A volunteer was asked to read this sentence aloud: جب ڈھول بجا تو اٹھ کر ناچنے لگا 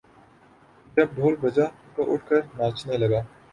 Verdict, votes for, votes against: accepted, 5, 0